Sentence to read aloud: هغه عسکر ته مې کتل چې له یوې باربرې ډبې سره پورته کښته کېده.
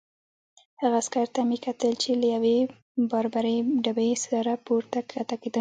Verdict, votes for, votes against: accepted, 2, 0